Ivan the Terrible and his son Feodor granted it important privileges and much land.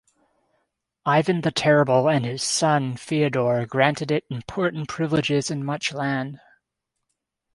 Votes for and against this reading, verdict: 2, 0, accepted